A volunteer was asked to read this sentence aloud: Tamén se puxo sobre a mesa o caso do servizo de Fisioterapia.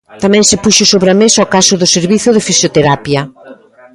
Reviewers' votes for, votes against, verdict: 2, 0, accepted